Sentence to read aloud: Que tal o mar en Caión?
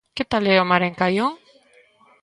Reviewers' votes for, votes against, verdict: 0, 2, rejected